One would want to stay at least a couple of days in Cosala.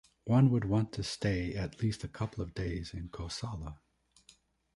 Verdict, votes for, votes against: accepted, 2, 0